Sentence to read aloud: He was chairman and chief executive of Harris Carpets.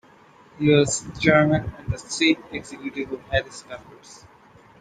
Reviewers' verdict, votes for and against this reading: rejected, 0, 2